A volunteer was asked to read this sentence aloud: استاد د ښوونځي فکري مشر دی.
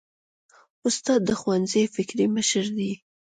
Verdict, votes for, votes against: accepted, 2, 0